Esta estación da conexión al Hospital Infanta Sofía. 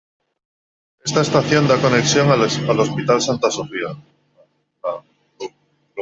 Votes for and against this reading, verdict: 0, 2, rejected